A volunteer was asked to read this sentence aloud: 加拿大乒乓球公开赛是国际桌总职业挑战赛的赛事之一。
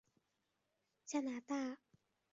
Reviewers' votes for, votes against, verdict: 1, 3, rejected